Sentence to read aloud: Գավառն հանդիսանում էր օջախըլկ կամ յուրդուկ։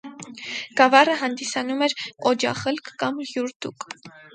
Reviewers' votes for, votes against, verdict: 2, 4, rejected